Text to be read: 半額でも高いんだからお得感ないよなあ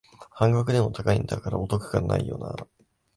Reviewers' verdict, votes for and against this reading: rejected, 0, 2